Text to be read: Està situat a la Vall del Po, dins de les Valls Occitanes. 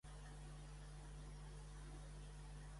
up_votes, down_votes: 1, 2